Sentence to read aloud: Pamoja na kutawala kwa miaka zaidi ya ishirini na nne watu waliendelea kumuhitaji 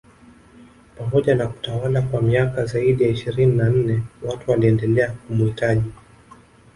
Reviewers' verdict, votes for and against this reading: accepted, 2, 0